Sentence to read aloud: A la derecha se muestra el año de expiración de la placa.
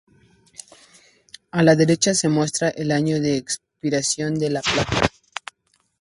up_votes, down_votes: 2, 0